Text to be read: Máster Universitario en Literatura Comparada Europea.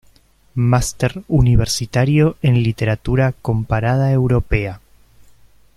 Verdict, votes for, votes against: accepted, 2, 1